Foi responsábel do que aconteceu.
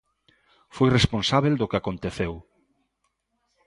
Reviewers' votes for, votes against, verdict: 2, 0, accepted